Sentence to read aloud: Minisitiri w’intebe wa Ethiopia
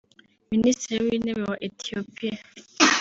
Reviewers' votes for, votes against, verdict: 3, 0, accepted